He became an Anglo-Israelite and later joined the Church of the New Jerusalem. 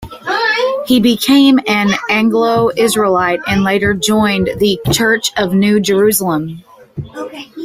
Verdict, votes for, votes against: rejected, 0, 2